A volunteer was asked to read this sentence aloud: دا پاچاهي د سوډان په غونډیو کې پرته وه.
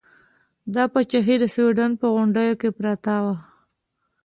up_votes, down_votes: 2, 0